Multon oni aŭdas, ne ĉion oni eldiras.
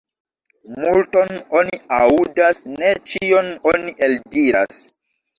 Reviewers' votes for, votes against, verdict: 0, 2, rejected